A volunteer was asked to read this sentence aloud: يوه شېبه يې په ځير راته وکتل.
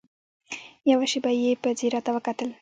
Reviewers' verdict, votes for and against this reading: accepted, 2, 0